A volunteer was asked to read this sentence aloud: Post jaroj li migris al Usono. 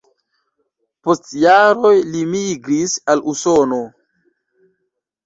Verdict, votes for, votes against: accepted, 2, 0